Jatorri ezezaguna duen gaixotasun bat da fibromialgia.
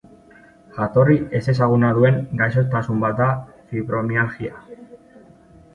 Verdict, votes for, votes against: accepted, 2, 1